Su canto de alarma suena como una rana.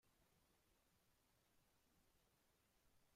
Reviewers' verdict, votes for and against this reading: rejected, 0, 2